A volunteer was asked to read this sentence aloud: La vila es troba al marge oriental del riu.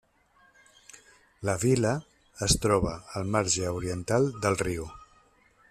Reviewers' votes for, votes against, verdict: 1, 2, rejected